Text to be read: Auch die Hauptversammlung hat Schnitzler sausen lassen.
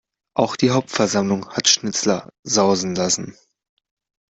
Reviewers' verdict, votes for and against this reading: accepted, 2, 0